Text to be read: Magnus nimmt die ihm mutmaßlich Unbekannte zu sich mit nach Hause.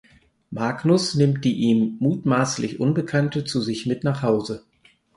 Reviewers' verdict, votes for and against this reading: accepted, 4, 0